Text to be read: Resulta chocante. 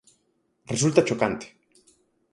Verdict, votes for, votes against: accepted, 4, 0